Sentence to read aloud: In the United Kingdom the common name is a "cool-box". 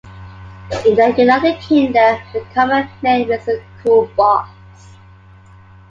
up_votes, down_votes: 2, 0